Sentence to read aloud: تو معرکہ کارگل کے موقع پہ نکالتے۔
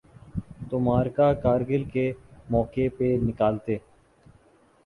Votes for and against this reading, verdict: 4, 2, accepted